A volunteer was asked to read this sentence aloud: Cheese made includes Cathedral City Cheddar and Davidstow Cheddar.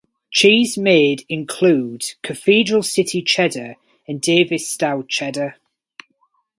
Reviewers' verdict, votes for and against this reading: rejected, 2, 2